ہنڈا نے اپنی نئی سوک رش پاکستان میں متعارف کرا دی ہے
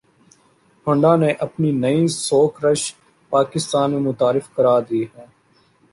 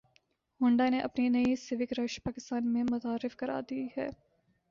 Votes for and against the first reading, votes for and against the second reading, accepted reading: 2, 0, 0, 2, first